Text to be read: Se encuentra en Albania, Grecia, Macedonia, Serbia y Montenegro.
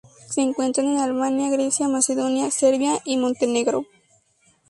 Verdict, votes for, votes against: accepted, 2, 0